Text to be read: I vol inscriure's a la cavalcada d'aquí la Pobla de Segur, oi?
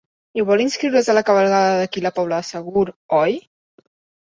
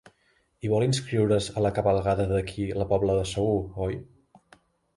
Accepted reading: second